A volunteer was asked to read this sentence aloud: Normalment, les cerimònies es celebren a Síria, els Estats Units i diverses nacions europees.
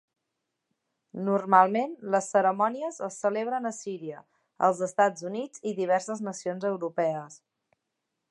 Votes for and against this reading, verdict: 1, 2, rejected